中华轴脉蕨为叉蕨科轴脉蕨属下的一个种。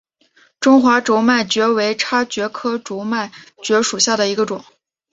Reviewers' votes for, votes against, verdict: 2, 1, accepted